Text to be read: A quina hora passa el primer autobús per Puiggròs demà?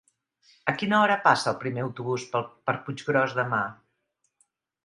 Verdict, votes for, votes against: rejected, 0, 2